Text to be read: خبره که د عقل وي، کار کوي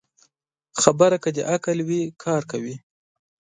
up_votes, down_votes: 2, 0